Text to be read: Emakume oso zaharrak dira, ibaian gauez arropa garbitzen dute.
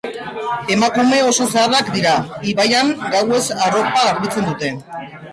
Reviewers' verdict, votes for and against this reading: rejected, 0, 2